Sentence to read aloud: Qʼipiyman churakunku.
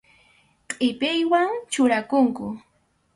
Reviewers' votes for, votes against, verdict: 0, 2, rejected